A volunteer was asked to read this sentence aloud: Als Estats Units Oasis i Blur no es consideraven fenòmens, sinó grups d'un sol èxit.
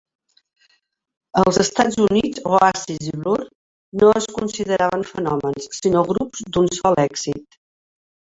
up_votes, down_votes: 0, 2